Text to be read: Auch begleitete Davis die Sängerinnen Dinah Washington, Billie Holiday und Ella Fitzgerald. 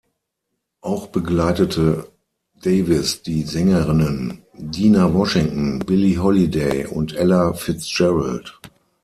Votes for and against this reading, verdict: 3, 6, rejected